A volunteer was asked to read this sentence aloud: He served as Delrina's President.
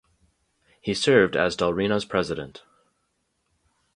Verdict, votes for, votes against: accepted, 2, 0